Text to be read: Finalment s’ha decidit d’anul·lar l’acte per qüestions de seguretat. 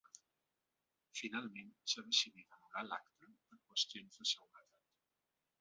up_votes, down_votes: 1, 2